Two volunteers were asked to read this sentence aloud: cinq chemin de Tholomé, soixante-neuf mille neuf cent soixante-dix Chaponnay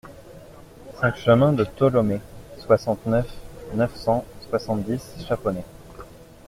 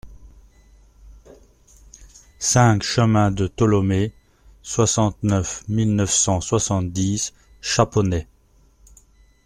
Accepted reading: second